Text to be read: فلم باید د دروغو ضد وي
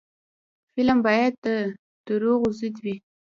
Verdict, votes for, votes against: rejected, 1, 2